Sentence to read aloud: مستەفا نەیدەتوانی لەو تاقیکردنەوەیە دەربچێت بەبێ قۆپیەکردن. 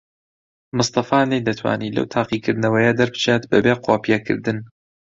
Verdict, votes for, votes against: accepted, 2, 0